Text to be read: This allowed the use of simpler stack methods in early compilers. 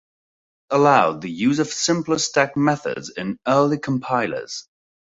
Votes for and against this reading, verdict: 1, 2, rejected